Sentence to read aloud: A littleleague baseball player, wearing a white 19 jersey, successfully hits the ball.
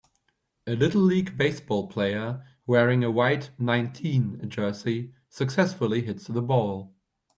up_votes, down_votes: 0, 2